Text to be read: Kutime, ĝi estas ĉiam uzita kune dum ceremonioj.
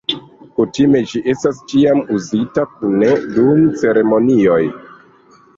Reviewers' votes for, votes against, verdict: 2, 1, accepted